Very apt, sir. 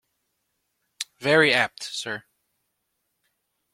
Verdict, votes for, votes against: accepted, 2, 0